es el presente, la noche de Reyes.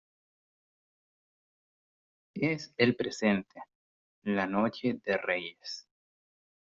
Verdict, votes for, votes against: accepted, 2, 0